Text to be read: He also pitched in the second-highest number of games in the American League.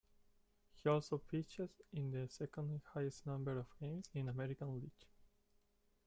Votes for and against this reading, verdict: 0, 2, rejected